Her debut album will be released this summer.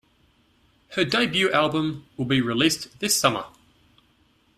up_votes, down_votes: 2, 0